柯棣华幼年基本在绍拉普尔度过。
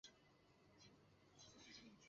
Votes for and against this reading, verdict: 0, 3, rejected